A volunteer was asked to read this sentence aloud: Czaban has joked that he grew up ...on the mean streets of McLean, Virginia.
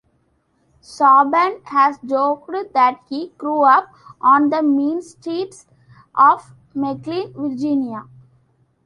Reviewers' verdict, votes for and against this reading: rejected, 1, 2